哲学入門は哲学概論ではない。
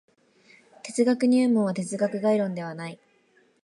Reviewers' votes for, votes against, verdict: 2, 0, accepted